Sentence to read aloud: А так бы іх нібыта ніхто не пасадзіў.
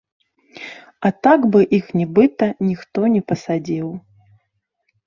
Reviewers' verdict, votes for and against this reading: accepted, 2, 0